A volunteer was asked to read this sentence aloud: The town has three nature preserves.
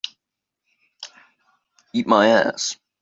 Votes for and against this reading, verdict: 0, 2, rejected